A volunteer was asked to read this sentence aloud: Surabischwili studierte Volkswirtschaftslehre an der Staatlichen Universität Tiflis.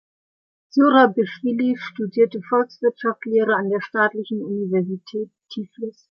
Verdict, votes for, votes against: rejected, 1, 2